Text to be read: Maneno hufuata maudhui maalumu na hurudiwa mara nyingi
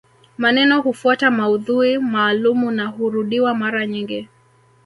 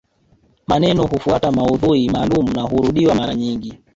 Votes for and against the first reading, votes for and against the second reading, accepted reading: 3, 0, 1, 2, first